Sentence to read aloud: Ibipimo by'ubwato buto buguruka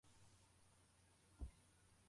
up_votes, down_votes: 0, 2